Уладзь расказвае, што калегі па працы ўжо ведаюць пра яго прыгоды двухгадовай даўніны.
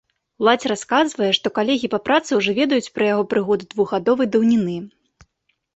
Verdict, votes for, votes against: accepted, 2, 0